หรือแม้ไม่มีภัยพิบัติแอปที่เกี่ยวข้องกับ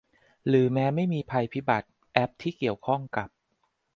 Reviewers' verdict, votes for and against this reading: accepted, 2, 0